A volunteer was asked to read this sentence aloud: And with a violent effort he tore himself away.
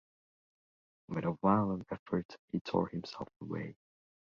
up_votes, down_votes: 2, 0